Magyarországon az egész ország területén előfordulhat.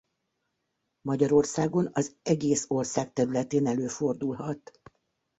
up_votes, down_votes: 2, 0